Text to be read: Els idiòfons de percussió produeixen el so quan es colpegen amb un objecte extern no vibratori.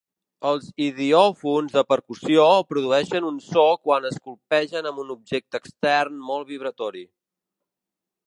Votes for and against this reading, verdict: 1, 2, rejected